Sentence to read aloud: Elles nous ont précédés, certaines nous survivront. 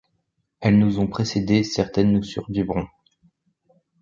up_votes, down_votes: 2, 0